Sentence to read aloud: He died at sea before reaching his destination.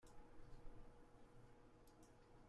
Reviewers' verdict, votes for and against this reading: rejected, 0, 2